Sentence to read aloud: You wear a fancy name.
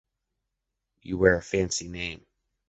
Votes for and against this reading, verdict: 2, 0, accepted